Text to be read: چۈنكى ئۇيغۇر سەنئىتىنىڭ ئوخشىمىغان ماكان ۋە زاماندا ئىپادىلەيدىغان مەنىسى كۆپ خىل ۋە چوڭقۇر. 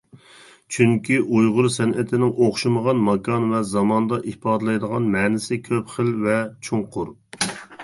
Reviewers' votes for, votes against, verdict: 2, 0, accepted